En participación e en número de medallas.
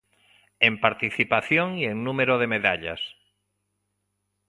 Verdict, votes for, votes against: accepted, 2, 1